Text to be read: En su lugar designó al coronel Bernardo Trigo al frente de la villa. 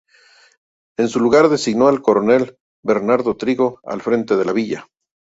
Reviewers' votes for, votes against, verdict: 2, 0, accepted